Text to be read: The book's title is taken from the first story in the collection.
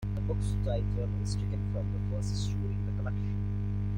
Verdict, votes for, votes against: rejected, 0, 2